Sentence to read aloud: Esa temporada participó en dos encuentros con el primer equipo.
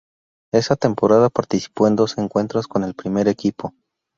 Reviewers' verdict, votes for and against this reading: rejected, 0, 2